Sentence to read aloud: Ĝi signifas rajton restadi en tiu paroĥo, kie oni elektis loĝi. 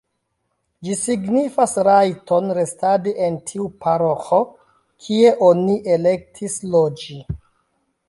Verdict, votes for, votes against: accepted, 2, 0